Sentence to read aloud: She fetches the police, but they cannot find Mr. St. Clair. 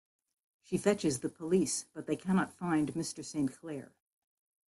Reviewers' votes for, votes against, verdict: 0, 2, rejected